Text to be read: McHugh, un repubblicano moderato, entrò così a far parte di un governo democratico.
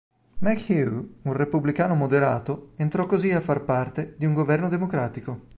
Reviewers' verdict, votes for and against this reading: rejected, 0, 2